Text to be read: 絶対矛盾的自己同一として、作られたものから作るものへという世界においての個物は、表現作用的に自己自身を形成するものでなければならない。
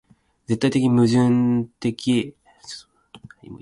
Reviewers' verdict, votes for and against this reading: rejected, 0, 2